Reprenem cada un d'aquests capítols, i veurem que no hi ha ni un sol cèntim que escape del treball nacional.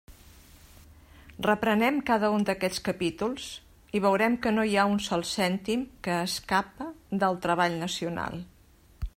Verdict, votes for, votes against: accepted, 2, 0